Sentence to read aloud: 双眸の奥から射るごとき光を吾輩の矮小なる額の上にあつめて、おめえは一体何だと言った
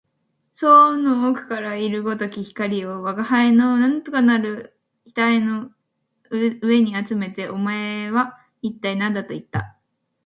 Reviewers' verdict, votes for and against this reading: rejected, 0, 2